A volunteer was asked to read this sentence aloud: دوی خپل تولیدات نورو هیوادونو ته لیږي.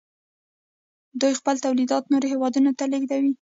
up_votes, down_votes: 0, 2